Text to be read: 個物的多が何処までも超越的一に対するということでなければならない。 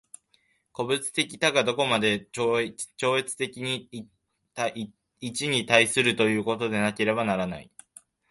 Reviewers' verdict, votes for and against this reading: rejected, 1, 3